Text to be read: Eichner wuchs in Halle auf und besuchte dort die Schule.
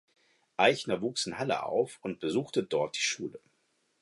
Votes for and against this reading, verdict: 4, 0, accepted